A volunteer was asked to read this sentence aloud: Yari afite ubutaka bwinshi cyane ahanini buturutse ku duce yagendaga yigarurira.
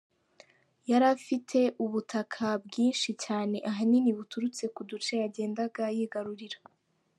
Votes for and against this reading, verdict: 2, 0, accepted